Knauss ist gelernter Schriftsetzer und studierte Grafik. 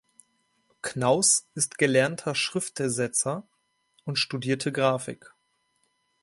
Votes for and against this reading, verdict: 0, 3, rejected